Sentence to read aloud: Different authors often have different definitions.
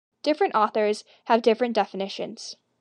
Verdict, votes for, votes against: rejected, 1, 2